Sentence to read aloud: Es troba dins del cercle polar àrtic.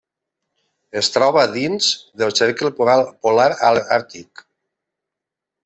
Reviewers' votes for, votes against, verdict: 1, 2, rejected